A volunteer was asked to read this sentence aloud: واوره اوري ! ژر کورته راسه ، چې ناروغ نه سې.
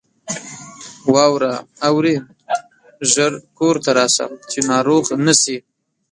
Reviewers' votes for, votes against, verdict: 1, 2, rejected